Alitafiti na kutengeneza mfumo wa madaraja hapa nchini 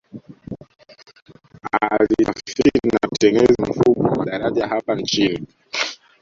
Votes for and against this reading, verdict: 0, 2, rejected